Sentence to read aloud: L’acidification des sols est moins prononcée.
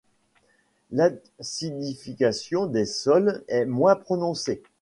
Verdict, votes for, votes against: rejected, 1, 2